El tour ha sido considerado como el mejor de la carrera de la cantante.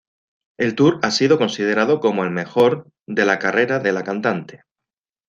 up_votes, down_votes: 1, 2